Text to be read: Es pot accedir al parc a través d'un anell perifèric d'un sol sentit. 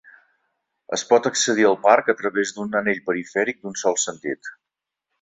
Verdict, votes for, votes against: accepted, 3, 0